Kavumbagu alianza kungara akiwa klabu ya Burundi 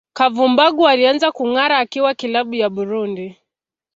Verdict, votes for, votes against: accepted, 2, 0